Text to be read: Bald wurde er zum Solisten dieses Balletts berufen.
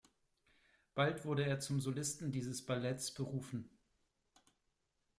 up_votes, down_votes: 2, 0